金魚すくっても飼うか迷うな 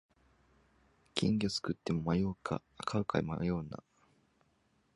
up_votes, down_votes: 1, 2